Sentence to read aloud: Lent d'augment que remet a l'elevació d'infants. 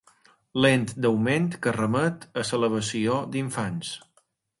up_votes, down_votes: 3, 1